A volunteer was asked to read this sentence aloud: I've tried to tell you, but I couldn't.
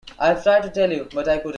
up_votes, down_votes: 1, 2